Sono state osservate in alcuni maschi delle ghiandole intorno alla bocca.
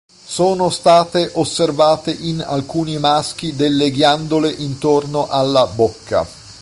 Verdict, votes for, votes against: accepted, 2, 0